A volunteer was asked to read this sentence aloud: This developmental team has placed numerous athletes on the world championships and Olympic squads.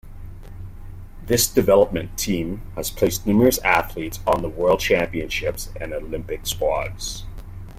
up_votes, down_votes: 1, 2